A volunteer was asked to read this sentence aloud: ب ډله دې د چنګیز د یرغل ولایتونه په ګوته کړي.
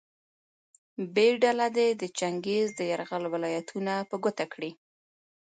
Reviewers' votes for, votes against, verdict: 1, 2, rejected